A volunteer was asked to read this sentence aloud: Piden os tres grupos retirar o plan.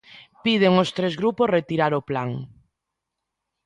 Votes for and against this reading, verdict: 2, 0, accepted